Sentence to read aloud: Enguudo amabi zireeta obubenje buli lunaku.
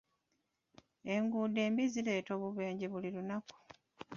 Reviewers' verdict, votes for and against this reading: rejected, 0, 2